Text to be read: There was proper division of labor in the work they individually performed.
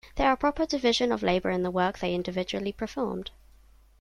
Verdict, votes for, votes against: rejected, 0, 2